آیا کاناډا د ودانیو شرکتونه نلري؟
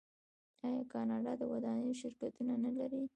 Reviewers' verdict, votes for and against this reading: rejected, 1, 2